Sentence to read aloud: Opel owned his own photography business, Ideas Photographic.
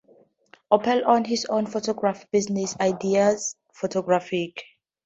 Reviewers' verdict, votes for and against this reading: accepted, 4, 0